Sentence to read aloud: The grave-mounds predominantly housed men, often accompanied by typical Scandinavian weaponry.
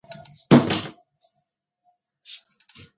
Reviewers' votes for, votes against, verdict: 0, 2, rejected